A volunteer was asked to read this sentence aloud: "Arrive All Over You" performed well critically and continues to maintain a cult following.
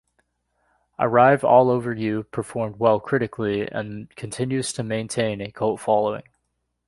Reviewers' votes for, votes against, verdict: 2, 0, accepted